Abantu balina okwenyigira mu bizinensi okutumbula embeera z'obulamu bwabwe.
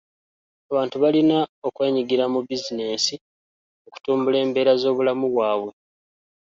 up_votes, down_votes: 2, 0